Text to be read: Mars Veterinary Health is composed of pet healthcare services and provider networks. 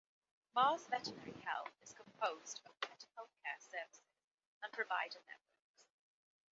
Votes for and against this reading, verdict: 2, 0, accepted